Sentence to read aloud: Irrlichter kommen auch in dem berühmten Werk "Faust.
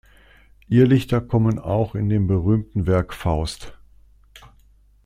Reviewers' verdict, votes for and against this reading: accepted, 2, 0